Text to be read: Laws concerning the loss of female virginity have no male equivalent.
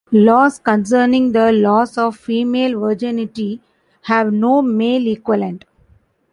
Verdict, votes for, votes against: accepted, 2, 0